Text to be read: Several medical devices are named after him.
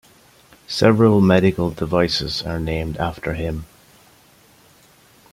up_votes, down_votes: 2, 0